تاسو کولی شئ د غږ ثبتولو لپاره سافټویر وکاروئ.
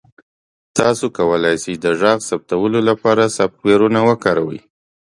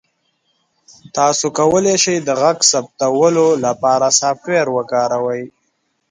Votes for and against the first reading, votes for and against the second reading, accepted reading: 1, 2, 2, 0, second